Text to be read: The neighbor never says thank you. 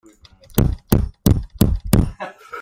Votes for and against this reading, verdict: 0, 2, rejected